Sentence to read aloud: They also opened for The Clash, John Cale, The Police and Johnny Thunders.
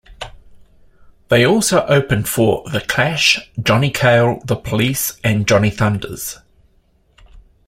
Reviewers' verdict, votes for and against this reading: accepted, 2, 0